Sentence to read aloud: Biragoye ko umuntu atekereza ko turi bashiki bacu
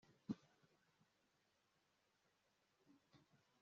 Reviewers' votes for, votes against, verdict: 0, 2, rejected